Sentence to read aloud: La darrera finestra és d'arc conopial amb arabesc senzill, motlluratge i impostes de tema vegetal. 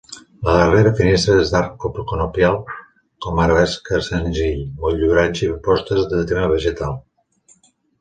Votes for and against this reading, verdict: 1, 3, rejected